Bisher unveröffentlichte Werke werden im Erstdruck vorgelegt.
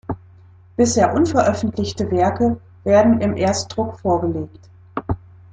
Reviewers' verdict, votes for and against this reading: accepted, 2, 0